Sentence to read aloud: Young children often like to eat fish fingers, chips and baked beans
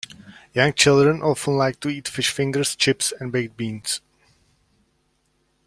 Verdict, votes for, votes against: accepted, 2, 0